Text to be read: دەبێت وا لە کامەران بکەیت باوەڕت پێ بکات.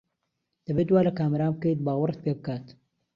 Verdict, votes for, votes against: accepted, 2, 0